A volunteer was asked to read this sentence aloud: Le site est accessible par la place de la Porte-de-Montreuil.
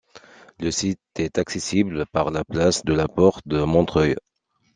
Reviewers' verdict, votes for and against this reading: accepted, 2, 0